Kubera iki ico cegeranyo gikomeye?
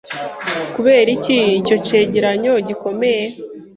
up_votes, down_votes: 2, 0